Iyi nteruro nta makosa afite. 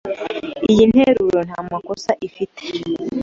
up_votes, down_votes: 1, 2